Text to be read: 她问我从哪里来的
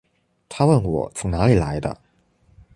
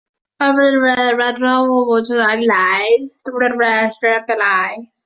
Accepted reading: first